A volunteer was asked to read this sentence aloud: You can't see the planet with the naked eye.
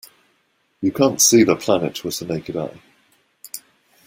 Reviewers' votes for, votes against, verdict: 2, 0, accepted